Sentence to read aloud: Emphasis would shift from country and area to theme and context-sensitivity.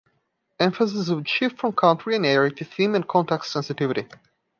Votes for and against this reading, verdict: 2, 0, accepted